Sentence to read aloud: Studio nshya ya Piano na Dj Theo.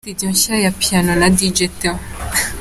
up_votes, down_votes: 2, 0